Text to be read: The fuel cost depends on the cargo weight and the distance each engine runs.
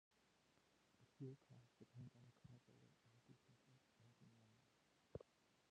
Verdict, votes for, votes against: rejected, 0, 2